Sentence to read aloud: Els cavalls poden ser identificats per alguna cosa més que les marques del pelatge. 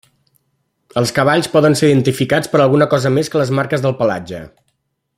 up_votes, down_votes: 3, 0